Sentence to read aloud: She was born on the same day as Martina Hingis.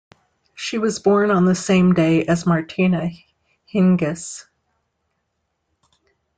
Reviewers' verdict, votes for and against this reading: accepted, 2, 0